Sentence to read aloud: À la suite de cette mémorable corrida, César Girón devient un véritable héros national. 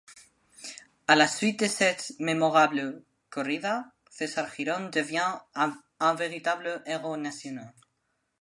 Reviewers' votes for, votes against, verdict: 0, 2, rejected